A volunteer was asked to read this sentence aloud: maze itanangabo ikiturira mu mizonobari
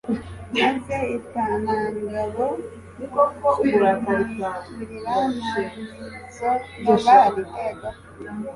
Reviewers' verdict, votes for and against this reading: rejected, 0, 2